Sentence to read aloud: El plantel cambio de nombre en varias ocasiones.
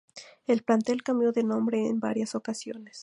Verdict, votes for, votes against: rejected, 0, 2